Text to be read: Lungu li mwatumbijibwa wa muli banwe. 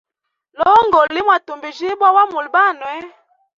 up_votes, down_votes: 2, 0